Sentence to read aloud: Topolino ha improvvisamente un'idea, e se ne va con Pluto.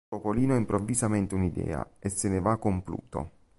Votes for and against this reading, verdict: 0, 2, rejected